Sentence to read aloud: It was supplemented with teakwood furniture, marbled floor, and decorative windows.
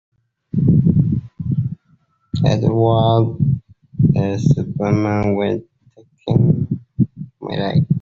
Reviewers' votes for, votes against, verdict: 0, 2, rejected